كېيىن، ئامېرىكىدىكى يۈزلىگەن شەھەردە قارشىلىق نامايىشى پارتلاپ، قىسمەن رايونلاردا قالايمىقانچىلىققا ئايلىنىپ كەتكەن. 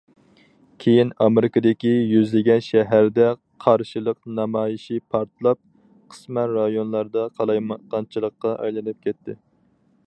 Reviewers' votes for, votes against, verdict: 2, 2, rejected